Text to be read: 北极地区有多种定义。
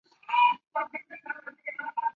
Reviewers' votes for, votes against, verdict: 1, 2, rejected